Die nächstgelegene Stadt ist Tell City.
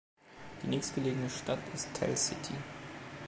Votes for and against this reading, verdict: 2, 0, accepted